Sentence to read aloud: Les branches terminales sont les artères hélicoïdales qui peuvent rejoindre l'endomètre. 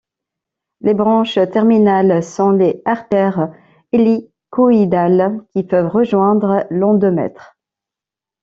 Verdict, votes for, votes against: accepted, 2, 0